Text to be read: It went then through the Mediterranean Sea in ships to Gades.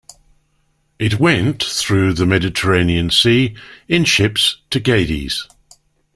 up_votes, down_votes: 0, 2